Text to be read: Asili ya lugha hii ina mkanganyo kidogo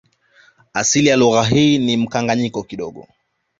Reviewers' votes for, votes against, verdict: 2, 1, accepted